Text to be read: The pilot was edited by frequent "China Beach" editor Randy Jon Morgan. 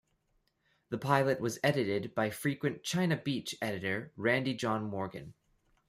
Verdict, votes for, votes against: rejected, 0, 2